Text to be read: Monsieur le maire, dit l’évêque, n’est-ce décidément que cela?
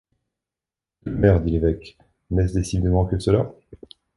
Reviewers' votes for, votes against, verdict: 0, 2, rejected